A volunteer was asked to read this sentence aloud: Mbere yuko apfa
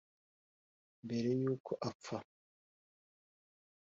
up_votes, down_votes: 2, 0